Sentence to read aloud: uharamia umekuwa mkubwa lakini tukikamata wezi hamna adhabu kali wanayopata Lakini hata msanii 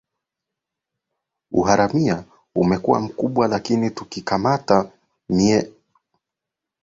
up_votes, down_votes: 0, 2